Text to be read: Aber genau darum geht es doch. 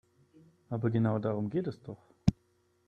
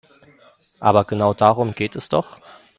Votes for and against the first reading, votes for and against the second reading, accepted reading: 1, 2, 2, 0, second